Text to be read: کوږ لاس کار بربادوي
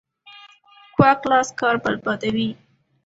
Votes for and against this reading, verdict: 2, 0, accepted